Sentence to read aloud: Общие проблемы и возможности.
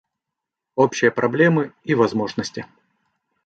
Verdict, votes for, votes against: accepted, 2, 0